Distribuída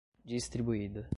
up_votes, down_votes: 2, 0